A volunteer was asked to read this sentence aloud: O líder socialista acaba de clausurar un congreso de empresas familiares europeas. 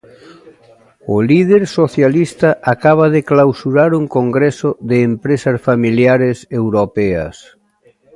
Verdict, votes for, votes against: accepted, 2, 0